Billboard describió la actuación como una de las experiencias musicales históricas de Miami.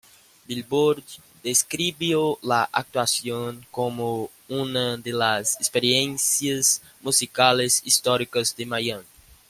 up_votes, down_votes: 2, 1